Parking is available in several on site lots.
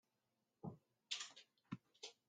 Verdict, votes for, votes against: rejected, 0, 2